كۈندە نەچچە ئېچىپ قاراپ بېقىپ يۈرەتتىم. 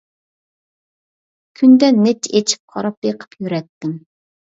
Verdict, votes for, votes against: accepted, 2, 0